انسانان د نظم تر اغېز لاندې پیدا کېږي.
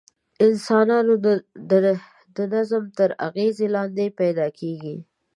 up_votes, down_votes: 0, 2